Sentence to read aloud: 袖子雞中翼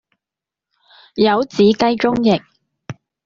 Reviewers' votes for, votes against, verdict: 1, 2, rejected